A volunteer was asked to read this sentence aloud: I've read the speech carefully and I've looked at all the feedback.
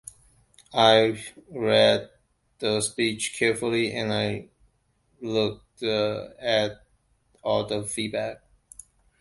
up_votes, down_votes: 2, 0